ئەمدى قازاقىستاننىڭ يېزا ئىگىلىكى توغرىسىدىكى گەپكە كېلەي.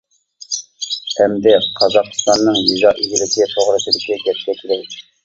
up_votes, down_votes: 1, 2